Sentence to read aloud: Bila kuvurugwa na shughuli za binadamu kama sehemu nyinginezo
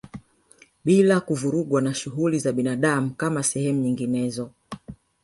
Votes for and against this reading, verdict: 0, 2, rejected